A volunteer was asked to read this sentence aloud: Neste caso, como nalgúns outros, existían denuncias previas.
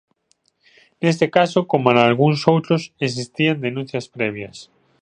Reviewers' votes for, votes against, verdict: 2, 0, accepted